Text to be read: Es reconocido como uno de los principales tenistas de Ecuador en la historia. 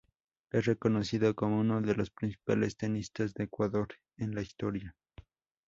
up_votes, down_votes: 2, 0